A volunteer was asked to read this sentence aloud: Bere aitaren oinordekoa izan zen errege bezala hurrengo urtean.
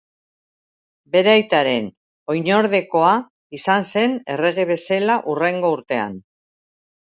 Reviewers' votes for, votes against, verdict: 0, 2, rejected